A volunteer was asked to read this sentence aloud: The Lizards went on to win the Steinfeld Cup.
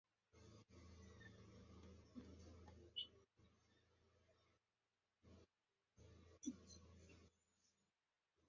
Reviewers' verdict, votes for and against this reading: rejected, 0, 2